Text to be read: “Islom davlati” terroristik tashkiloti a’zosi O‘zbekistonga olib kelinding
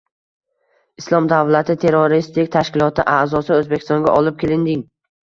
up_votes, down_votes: 2, 0